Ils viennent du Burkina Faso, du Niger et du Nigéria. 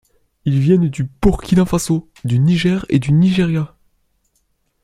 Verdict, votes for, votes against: accepted, 2, 0